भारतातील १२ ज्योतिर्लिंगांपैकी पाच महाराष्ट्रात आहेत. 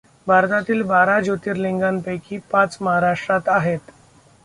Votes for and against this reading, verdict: 0, 2, rejected